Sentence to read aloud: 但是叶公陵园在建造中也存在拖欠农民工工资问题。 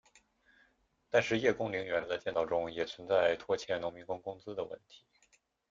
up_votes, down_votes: 0, 2